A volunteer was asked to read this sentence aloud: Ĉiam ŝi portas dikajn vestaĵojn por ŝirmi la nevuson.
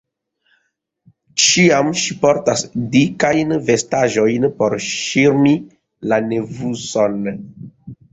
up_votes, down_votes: 1, 2